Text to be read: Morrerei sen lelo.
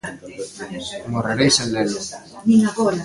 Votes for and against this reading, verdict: 1, 2, rejected